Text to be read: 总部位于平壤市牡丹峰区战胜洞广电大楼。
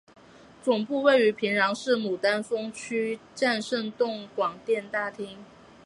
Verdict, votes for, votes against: rejected, 0, 2